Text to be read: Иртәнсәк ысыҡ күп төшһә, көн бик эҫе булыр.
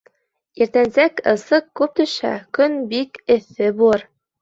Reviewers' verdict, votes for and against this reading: accepted, 2, 0